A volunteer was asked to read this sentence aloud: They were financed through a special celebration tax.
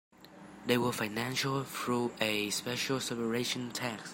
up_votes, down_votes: 0, 2